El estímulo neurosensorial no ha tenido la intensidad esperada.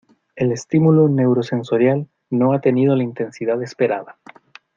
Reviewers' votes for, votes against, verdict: 2, 0, accepted